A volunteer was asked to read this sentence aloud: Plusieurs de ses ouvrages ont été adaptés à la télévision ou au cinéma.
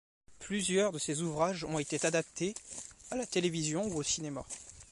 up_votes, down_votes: 2, 1